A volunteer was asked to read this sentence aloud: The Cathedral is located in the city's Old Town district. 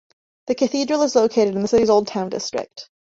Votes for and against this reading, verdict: 1, 2, rejected